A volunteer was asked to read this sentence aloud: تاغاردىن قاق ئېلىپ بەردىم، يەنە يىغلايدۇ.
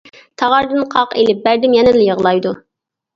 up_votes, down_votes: 1, 2